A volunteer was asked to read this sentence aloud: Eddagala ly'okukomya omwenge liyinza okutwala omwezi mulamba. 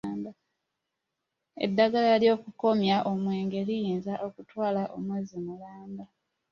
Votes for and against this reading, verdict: 2, 0, accepted